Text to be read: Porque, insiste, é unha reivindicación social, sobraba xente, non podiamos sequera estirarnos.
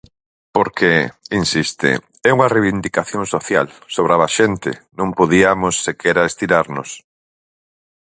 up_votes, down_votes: 4, 0